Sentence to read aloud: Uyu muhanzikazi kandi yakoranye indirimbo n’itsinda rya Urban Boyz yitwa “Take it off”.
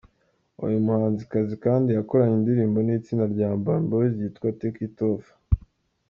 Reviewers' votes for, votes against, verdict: 2, 0, accepted